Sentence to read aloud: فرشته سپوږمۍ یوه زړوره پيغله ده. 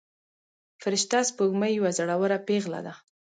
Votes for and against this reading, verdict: 2, 0, accepted